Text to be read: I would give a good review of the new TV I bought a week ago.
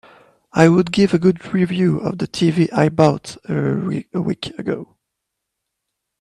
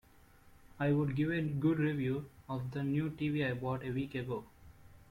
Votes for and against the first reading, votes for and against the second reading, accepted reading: 0, 2, 2, 0, second